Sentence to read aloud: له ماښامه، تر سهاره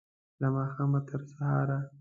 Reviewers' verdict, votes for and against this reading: accepted, 2, 0